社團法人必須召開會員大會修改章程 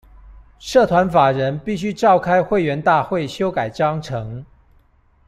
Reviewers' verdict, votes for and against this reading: accepted, 2, 0